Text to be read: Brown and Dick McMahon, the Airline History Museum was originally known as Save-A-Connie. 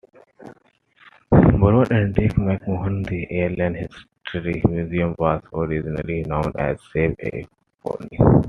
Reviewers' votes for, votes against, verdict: 0, 2, rejected